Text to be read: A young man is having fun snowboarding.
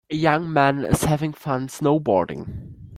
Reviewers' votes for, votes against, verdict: 2, 1, accepted